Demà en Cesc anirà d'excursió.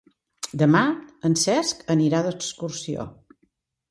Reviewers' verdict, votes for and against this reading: accepted, 2, 0